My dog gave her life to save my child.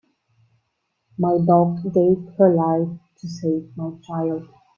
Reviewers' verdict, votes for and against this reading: rejected, 1, 2